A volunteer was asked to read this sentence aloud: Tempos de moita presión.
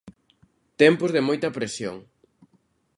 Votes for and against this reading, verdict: 2, 0, accepted